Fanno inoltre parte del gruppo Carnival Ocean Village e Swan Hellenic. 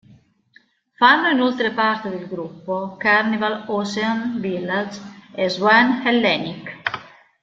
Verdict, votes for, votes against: rejected, 1, 2